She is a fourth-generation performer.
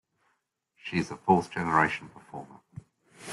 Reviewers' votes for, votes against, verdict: 2, 1, accepted